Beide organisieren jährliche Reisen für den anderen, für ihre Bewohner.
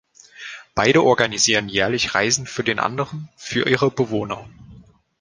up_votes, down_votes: 2, 0